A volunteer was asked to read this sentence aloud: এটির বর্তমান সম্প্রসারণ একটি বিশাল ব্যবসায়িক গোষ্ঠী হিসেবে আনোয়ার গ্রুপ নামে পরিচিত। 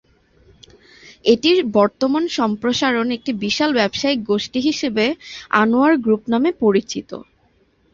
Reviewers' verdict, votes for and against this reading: accepted, 2, 0